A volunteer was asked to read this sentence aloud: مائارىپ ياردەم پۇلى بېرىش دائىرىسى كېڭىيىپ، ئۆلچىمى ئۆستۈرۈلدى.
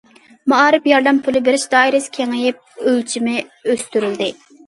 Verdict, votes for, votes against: accepted, 2, 0